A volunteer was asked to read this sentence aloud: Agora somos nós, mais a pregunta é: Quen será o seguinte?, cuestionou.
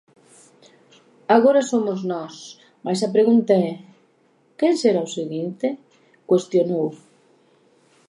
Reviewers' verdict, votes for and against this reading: accepted, 2, 0